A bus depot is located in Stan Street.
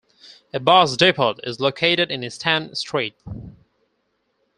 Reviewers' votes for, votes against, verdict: 0, 4, rejected